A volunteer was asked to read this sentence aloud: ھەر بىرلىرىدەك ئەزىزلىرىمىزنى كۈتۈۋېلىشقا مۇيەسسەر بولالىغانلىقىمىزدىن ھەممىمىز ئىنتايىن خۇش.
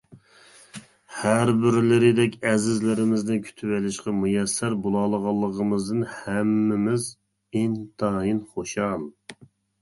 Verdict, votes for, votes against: rejected, 0, 2